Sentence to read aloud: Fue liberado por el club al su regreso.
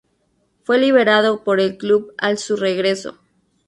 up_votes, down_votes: 2, 0